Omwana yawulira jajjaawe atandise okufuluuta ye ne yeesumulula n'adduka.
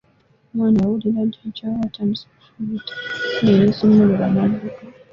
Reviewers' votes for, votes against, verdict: 0, 2, rejected